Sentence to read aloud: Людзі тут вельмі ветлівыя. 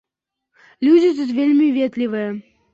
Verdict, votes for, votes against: accepted, 2, 0